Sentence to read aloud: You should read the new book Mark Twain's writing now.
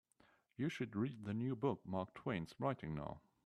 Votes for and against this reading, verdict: 1, 2, rejected